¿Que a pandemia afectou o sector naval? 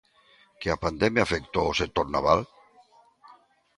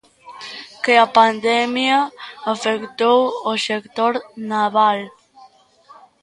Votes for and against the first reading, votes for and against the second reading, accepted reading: 2, 0, 0, 2, first